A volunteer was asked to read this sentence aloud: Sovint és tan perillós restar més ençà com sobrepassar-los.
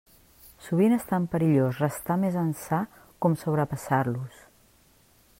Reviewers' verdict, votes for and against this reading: rejected, 1, 2